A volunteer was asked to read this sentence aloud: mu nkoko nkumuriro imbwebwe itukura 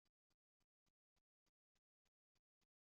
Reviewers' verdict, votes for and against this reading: rejected, 0, 2